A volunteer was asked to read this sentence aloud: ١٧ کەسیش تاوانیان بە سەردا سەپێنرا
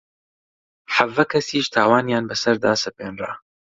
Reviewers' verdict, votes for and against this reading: rejected, 0, 2